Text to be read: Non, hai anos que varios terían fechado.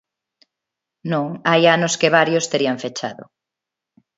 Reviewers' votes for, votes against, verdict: 2, 0, accepted